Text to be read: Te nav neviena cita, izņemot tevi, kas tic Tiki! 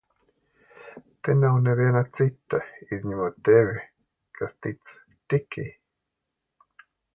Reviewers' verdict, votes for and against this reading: accepted, 2, 0